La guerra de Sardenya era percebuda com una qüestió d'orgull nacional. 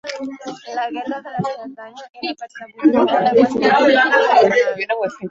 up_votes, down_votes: 0, 2